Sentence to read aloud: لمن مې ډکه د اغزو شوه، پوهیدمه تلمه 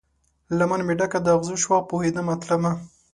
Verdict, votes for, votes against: accepted, 2, 0